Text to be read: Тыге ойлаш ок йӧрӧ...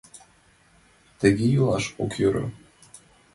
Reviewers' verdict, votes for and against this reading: rejected, 0, 2